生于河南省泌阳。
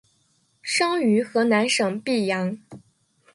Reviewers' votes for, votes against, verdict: 1, 2, rejected